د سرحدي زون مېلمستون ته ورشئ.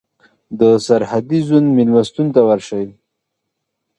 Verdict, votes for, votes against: accepted, 2, 0